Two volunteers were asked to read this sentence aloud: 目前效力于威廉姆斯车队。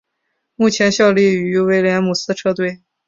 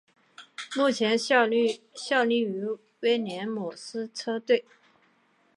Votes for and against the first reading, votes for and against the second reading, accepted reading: 3, 0, 2, 4, first